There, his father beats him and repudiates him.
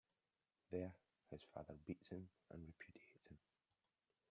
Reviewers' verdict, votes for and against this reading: rejected, 0, 2